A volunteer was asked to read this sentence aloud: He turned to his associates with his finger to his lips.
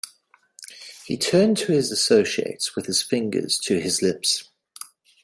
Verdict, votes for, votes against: rejected, 0, 2